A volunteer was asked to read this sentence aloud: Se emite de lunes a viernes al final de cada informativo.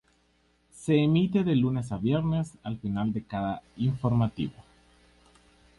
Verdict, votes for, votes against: rejected, 0, 2